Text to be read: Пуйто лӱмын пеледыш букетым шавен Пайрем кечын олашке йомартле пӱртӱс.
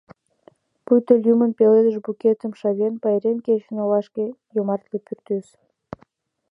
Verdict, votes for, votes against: accepted, 2, 0